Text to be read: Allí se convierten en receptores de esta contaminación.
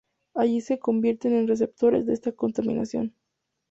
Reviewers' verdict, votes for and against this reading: accepted, 2, 0